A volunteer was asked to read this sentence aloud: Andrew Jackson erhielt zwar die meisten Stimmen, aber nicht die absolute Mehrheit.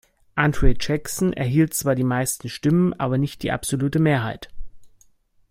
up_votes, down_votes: 1, 2